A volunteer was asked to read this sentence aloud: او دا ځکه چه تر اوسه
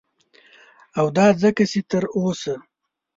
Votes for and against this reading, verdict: 2, 0, accepted